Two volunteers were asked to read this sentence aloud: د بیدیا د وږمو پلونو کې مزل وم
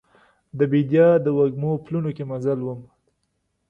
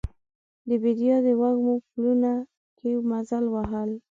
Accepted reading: first